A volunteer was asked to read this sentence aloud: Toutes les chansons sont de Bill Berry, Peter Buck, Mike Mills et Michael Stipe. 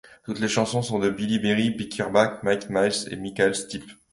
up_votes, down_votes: 1, 2